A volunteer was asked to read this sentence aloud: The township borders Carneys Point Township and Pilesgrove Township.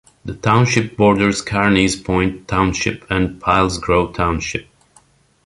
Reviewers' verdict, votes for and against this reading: accepted, 2, 0